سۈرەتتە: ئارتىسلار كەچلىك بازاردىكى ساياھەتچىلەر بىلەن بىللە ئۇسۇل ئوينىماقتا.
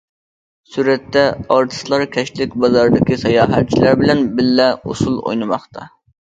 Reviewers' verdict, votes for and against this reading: accepted, 2, 0